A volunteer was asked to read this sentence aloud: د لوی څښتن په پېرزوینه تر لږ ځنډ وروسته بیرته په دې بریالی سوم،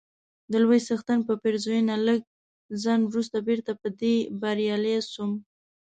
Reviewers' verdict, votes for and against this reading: rejected, 0, 2